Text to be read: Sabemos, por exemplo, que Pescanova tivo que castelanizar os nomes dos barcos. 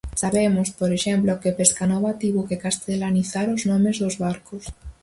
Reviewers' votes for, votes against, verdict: 4, 0, accepted